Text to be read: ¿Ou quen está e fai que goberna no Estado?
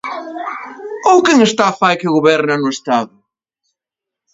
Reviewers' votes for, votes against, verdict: 0, 2, rejected